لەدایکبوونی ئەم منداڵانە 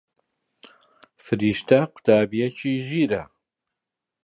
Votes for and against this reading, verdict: 1, 2, rejected